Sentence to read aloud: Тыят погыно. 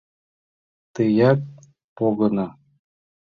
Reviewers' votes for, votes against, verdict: 2, 0, accepted